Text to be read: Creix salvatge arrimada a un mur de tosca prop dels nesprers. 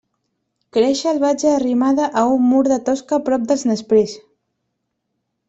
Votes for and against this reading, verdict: 2, 0, accepted